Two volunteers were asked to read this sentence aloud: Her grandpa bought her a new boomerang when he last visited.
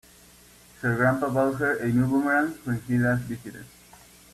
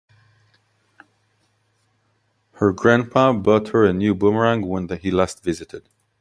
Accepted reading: first